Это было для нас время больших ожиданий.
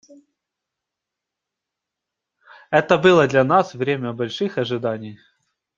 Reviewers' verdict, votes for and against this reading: accepted, 2, 0